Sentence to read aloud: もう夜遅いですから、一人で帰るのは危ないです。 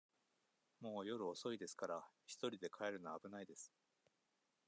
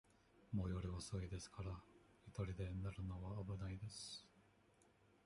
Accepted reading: first